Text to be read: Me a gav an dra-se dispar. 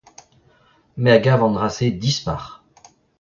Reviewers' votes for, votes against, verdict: 2, 0, accepted